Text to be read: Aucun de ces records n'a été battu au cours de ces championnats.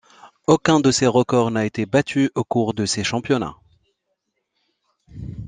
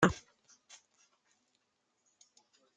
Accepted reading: first